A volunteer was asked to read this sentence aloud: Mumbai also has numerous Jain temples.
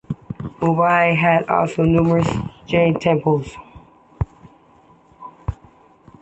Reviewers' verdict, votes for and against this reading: rejected, 1, 2